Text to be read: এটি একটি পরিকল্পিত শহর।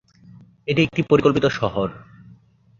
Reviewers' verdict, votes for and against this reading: rejected, 2, 3